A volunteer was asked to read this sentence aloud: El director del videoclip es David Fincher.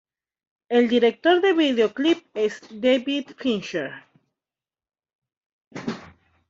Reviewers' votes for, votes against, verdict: 1, 2, rejected